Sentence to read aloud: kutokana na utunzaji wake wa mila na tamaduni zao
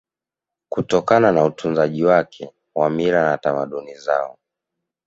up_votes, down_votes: 2, 0